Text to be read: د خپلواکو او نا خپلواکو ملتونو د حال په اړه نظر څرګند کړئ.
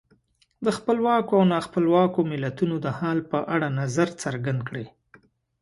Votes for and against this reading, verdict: 2, 0, accepted